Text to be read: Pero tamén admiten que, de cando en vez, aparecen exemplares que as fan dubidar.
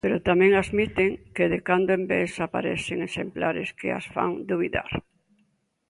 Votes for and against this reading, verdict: 3, 0, accepted